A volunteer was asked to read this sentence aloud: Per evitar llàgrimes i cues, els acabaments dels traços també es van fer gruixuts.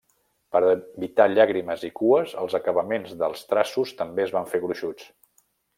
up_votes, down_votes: 1, 2